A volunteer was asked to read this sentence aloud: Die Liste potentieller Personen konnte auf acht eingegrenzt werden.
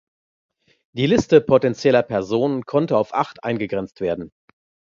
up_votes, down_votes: 2, 0